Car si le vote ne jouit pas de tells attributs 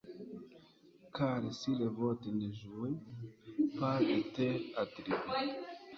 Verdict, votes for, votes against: rejected, 1, 2